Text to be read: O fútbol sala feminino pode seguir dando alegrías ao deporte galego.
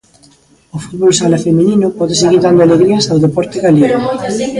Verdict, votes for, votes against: rejected, 1, 2